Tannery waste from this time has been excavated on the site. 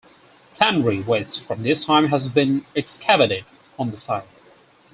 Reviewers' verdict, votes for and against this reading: accepted, 4, 2